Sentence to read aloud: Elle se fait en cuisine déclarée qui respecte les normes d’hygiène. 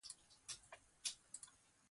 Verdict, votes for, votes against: rejected, 0, 2